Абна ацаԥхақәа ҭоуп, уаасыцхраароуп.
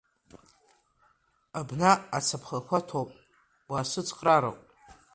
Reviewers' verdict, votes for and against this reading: rejected, 1, 2